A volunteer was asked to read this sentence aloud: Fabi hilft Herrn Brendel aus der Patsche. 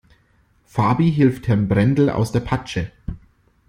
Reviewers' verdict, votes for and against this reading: accepted, 2, 0